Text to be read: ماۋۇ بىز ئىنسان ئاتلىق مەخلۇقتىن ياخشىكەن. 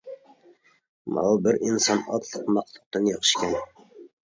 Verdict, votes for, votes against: rejected, 0, 2